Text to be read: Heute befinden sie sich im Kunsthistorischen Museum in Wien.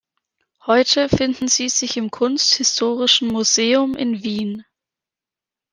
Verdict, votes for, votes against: rejected, 0, 2